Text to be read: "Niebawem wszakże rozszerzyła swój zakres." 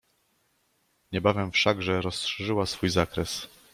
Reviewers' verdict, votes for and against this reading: accepted, 2, 0